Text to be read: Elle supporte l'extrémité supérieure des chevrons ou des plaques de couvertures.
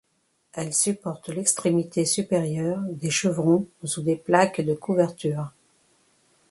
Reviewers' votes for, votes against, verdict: 1, 2, rejected